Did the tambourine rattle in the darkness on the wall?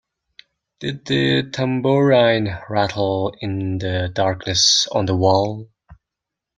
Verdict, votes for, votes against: rejected, 0, 3